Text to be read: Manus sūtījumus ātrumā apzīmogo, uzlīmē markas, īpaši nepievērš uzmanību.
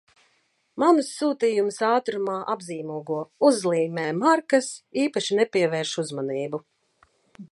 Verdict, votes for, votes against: accepted, 2, 1